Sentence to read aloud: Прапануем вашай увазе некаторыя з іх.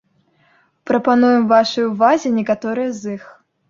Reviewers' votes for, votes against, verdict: 2, 0, accepted